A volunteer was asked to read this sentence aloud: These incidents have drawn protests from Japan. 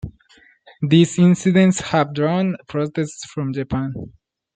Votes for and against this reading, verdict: 2, 0, accepted